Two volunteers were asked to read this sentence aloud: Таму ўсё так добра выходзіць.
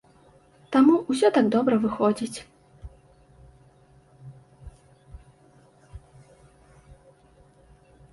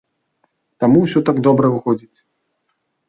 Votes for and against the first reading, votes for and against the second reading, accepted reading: 1, 2, 2, 0, second